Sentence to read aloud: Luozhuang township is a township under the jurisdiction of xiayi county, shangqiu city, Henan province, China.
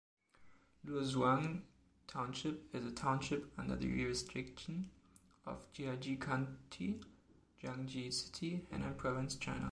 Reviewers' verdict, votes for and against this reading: rejected, 1, 2